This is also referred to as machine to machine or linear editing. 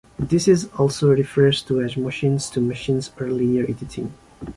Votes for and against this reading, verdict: 1, 2, rejected